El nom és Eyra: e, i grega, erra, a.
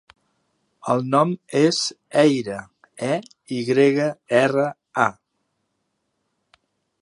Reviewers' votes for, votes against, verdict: 2, 0, accepted